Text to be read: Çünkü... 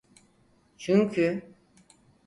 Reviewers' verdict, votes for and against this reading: accepted, 4, 0